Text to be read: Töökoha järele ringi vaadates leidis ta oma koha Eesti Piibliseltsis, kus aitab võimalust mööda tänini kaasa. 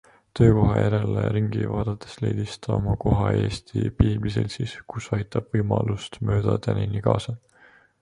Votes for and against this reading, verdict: 2, 1, accepted